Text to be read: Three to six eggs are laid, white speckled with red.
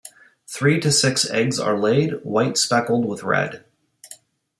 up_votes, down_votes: 2, 1